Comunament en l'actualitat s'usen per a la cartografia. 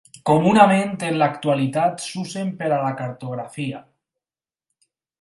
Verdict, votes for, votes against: accepted, 4, 0